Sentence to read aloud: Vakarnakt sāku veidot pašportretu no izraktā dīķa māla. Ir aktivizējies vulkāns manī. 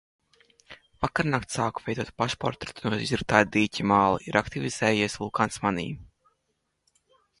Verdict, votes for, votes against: rejected, 0, 2